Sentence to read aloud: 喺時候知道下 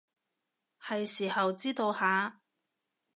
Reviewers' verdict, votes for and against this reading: rejected, 0, 2